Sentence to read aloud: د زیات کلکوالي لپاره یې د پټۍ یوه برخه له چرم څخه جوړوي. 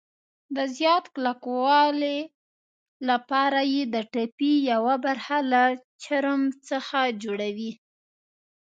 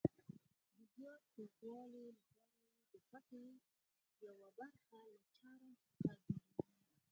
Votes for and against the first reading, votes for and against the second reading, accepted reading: 1, 2, 4, 0, second